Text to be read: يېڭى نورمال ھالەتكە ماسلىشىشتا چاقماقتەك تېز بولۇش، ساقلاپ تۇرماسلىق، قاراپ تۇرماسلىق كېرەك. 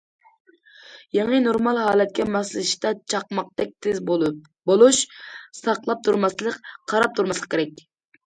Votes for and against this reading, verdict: 1, 2, rejected